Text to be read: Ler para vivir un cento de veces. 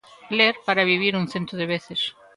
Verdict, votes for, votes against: accepted, 2, 0